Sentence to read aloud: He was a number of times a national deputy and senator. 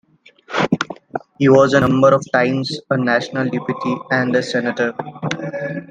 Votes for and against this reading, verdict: 2, 0, accepted